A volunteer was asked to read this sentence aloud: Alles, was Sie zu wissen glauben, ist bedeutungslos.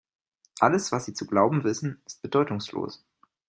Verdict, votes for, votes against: rejected, 0, 2